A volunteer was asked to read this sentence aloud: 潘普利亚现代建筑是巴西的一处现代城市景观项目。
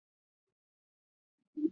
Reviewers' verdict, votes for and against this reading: rejected, 0, 5